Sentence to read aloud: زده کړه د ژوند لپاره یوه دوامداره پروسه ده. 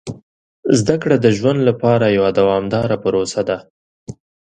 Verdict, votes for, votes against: accepted, 2, 0